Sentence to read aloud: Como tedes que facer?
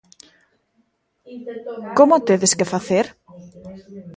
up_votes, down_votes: 0, 2